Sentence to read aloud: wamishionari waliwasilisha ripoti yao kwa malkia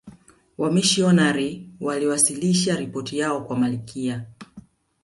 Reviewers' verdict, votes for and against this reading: accepted, 2, 1